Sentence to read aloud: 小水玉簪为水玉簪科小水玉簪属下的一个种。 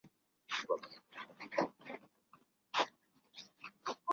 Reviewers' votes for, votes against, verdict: 0, 2, rejected